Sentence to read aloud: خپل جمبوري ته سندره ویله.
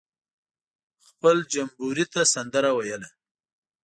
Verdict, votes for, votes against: accepted, 6, 0